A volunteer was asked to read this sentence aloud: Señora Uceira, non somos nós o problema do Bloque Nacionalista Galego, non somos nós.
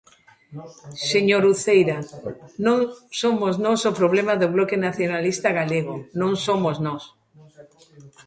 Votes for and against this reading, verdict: 1, 2, rejected